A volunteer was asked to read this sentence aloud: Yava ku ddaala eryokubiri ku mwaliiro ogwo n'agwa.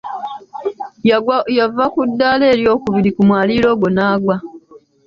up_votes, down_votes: 3, 1